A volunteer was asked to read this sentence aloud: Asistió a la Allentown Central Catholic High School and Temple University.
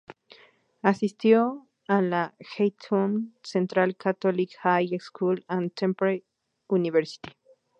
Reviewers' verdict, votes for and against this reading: rejected, 0, 2